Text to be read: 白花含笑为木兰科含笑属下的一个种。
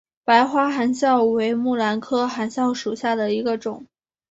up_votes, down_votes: 2, 0